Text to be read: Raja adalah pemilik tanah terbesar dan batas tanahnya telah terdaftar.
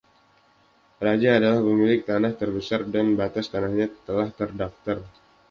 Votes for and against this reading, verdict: 1, 2, rejected